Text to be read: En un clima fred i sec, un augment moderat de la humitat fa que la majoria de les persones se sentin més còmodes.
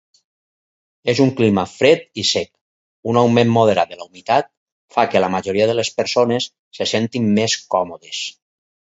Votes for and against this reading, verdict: 0, 4, rejected